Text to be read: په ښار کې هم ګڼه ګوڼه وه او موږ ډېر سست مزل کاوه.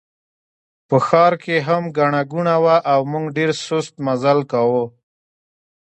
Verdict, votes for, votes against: accepted, 2, 0